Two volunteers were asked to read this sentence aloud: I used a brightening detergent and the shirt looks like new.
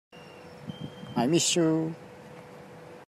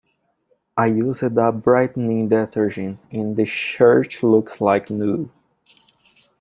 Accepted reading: second